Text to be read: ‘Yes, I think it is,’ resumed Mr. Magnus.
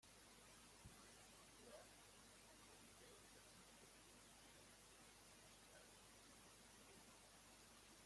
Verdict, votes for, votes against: rejected, 0, 2